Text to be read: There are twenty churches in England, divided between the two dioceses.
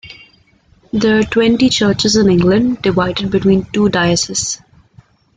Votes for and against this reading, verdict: 2, 1, accepted